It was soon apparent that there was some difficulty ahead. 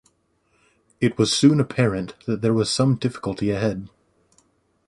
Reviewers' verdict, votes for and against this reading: accepted, 2, 0